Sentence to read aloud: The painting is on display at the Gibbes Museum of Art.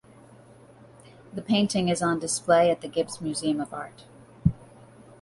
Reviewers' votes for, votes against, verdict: 2, 0, accepted